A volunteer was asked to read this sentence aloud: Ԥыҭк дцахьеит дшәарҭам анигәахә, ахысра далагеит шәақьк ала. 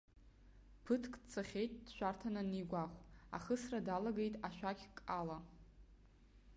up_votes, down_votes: 1, 2